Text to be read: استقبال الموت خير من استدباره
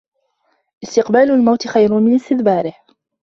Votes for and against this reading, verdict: 2, 0, accepted